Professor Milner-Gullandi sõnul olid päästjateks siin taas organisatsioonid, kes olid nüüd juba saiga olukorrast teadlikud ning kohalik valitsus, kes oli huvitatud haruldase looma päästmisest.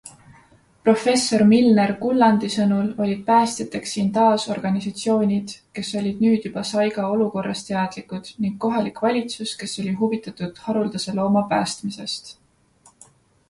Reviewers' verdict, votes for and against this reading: accepted, 2, 0